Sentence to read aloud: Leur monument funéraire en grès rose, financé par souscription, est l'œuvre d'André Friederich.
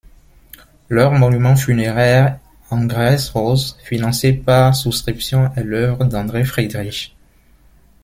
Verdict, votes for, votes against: rejected, 0, 2